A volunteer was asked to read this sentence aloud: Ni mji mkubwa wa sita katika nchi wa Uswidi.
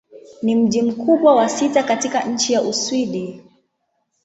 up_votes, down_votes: 2, 1